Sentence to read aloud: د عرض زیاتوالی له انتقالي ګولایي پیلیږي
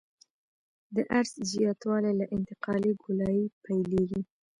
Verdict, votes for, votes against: accepted, 2, 0